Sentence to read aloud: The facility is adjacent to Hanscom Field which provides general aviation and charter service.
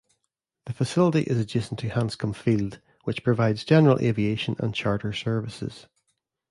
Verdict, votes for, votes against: rejected, 1, 2